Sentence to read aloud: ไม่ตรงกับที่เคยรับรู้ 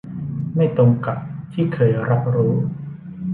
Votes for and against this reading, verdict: 2, 0, accepted